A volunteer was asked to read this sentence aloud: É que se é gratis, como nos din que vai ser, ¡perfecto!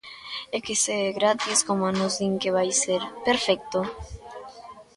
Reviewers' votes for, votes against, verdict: 1, 2, rejected